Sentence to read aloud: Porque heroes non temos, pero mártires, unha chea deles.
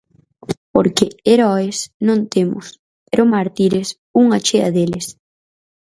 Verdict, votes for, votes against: rejected, 2, 2